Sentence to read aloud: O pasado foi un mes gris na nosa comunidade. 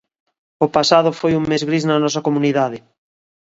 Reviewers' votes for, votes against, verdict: 2, 0, accepted